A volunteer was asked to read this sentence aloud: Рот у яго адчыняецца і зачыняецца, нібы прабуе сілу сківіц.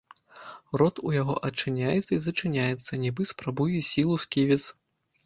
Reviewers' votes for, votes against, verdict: 1, 2, rejected